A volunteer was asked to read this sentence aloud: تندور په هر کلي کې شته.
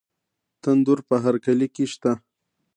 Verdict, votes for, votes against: accepted, 2, 1